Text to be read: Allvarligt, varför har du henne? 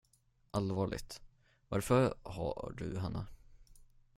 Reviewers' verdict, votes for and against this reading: rejected, 5, 10